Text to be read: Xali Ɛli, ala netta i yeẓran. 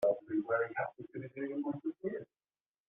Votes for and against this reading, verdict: 0, 2, rejected